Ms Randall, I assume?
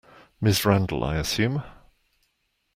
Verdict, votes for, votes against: accepted, 2, 0